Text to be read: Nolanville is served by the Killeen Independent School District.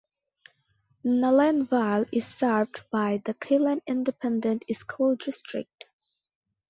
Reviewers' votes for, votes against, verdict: 2, 0, accepted